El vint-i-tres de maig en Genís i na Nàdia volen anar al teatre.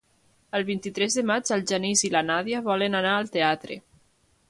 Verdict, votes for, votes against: rejected, 0, 2